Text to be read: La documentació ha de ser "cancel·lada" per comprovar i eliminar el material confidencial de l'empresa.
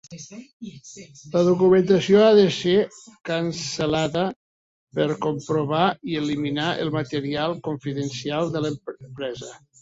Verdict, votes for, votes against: rejected, 0, 2